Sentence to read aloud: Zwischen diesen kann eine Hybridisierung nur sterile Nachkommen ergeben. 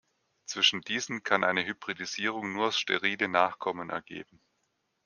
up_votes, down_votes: 2, 0